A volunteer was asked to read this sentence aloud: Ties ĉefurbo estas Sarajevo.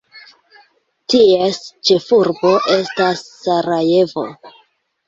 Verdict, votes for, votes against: accepted, 2, 1